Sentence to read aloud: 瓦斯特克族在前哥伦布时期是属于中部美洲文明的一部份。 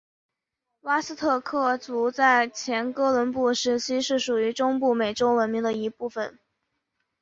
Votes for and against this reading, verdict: 6, 1, accepted